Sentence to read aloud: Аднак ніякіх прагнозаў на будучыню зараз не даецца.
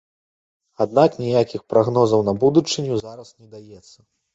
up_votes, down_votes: 2, 0